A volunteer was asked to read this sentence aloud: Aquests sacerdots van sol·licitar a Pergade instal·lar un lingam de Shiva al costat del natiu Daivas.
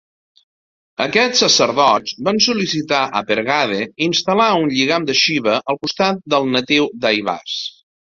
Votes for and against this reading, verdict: 2, 3, rejected